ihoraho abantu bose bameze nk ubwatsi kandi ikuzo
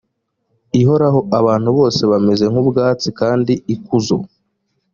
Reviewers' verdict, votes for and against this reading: accepted, 2, 0